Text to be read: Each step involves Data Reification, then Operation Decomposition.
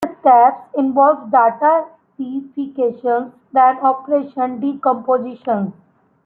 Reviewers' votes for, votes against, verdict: 1, 2, rejected